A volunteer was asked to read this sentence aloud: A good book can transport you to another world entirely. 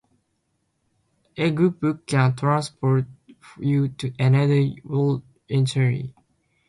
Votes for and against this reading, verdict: 0, 2, rejected